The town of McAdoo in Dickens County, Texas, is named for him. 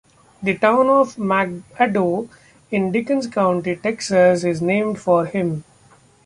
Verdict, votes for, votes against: accepted, 2, 1